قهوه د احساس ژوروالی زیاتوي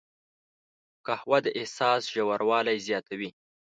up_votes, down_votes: 2, 0